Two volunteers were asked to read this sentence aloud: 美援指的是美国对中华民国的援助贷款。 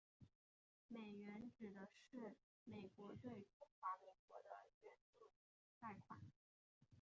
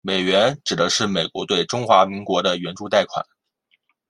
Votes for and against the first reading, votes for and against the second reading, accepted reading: 0, 3, 2, 0, second